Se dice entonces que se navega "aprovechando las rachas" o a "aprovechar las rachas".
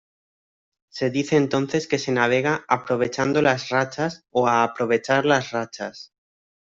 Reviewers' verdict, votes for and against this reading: rejected, 1, 2